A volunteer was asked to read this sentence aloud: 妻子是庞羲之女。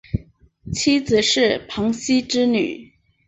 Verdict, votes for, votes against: accepted, 2, 0